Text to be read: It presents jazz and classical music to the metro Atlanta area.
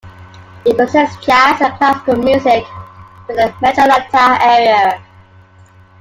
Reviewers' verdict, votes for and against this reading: rejected, 0, 2